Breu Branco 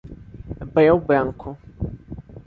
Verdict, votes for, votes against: accepted, 2, 0